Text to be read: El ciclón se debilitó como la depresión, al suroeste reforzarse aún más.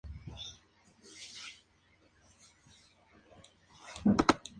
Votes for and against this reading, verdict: 0, 2, rejected